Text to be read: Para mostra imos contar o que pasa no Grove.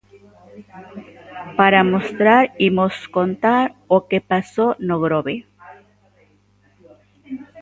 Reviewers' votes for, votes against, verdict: 0, 2, rejected